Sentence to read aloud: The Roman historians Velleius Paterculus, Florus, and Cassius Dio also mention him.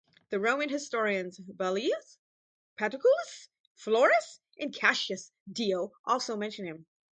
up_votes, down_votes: 2, 4